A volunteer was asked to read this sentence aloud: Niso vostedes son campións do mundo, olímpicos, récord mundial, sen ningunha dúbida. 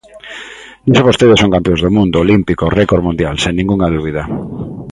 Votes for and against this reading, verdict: 2, 0, accepted